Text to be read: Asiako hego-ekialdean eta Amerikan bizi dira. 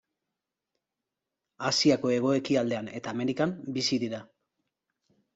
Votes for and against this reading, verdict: 2, 0, accepted